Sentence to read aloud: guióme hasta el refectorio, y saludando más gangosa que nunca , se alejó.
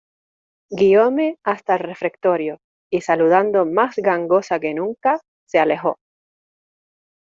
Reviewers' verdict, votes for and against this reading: accepted, 2, 1